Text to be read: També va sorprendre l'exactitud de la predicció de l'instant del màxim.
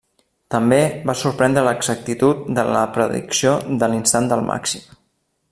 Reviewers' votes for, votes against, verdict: 2, 0, accepted